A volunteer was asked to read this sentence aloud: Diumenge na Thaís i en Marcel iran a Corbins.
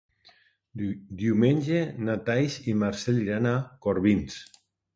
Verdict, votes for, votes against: rejected, 0, 2